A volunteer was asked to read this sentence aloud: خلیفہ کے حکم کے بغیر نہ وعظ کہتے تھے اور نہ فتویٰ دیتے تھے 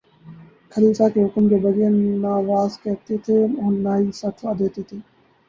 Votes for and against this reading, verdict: 0, 2, rejected